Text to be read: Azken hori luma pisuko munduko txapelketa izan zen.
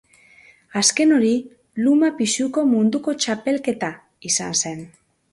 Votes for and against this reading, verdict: 3, 0, accepted